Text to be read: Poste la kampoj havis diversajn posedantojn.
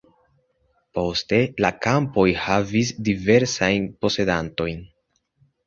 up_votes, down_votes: 2, 0